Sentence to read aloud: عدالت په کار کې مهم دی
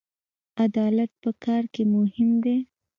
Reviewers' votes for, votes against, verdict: 2, 0, accepted